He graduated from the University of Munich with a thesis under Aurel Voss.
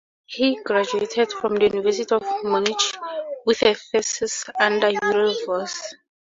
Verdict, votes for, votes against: rejected, 0, 2